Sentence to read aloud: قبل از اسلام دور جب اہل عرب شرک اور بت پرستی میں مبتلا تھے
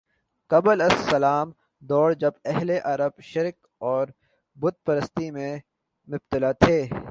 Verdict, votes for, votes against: accepted, 3, 0